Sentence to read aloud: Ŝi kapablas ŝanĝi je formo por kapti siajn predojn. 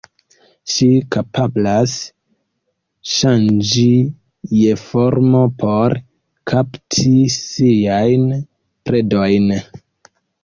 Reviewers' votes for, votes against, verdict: 0, 2, rejected